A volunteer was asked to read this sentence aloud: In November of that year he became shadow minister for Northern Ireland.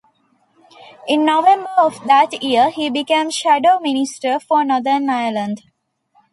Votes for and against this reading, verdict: 2, 0, accepted